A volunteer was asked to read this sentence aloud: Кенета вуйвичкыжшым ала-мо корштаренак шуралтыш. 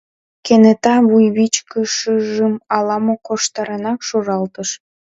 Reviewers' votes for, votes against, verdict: 0, 2, rejected